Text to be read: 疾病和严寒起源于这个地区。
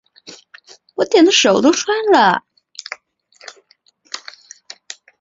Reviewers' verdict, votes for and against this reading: rejected, 0, 6